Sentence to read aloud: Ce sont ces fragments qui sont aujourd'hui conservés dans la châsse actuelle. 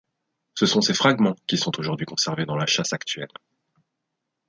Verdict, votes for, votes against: accepted, 2, 0